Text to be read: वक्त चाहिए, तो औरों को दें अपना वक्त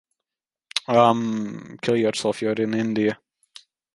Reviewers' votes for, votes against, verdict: 0, 2, rejected